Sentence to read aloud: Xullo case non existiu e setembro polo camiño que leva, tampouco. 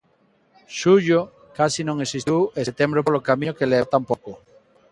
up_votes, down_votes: 1, 2